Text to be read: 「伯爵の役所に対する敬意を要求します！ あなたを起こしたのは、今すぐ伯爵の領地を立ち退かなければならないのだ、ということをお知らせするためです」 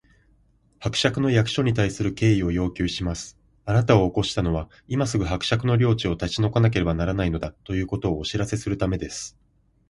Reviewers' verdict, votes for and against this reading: accepted, 28, 2